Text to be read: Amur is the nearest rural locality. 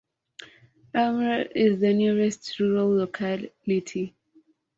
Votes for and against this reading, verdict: 2, 0, accepted